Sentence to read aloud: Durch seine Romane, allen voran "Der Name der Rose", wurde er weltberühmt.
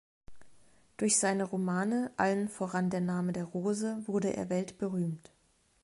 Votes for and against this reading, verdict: 2, 0, accepted